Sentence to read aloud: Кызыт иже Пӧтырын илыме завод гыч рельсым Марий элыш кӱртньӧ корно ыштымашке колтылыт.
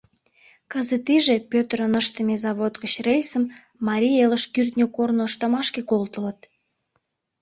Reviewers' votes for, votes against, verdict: 0, 2, rejected